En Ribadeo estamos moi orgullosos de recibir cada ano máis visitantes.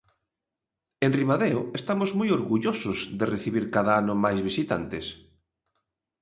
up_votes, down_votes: 3, 0